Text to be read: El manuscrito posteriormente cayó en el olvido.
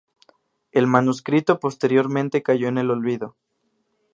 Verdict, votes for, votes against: accepted, 2, 0